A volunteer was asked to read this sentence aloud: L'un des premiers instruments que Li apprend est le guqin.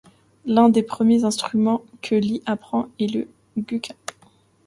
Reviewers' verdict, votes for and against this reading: accepted, 2, 0